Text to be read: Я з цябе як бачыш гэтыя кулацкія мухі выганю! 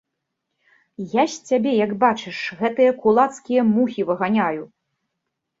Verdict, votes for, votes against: rejected, 0, 2